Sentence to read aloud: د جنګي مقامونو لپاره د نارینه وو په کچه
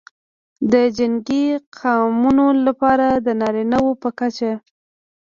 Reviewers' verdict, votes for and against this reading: rejected, 1, 2